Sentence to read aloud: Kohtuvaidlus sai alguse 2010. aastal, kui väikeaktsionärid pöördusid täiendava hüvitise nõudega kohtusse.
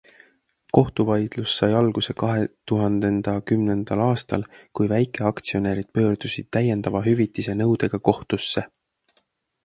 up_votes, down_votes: 0, 2